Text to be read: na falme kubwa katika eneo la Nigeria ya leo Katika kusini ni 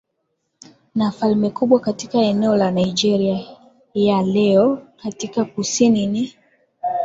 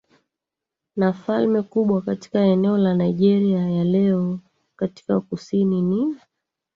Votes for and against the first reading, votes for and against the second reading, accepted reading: 10, 1, 0, 2, first